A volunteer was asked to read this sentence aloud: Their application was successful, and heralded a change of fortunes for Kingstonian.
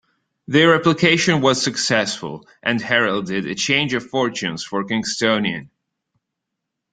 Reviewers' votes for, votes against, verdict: 3, 0, accepted